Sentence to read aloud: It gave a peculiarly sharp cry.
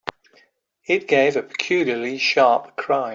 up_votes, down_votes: 3, 0